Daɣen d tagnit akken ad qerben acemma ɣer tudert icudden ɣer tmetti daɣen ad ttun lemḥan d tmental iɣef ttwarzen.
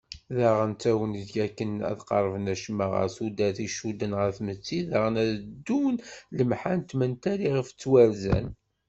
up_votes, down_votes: 0, 2